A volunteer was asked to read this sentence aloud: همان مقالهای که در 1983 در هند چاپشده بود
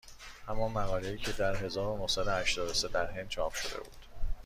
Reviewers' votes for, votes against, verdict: 0, 2, rejected